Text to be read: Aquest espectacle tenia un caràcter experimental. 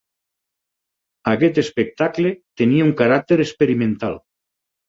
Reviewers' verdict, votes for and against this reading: accepted, 6, 0